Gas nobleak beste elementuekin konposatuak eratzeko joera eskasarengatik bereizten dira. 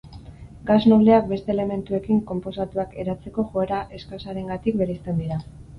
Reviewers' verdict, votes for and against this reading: accepted, 2, 0